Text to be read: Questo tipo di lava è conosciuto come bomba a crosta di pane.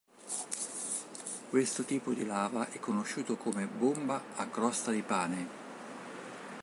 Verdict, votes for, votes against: accepted, 2, 0